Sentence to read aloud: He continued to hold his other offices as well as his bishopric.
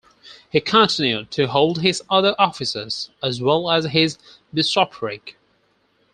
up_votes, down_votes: 0, 4